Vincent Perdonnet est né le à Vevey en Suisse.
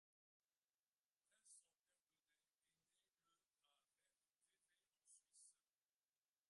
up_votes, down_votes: 0, 2